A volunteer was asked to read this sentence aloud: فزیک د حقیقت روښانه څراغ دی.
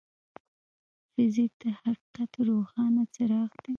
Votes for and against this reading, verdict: 2, 0, accepted